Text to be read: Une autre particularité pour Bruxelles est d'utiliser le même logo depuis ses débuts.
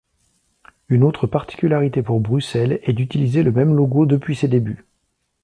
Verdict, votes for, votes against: accepted, 2, 0